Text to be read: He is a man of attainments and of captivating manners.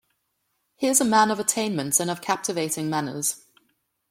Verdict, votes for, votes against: accepted, 2, 0